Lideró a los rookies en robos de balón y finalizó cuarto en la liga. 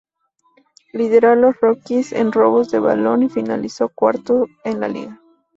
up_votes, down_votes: 2, 0